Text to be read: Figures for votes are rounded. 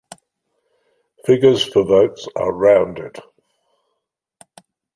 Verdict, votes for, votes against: accepted, 2, 0